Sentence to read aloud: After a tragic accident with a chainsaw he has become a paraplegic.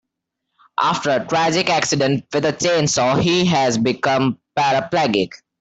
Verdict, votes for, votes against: rejected, 0, 2